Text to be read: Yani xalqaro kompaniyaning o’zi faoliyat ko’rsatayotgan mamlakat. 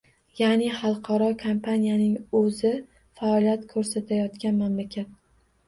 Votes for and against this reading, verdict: 1, 2, rejected